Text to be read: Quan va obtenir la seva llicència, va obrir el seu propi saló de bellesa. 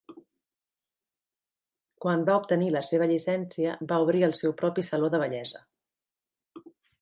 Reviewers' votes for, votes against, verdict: 2, 0, accepted